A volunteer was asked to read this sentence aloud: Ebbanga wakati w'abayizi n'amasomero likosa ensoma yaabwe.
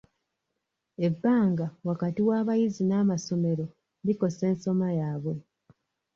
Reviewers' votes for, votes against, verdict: 2, 0, accepted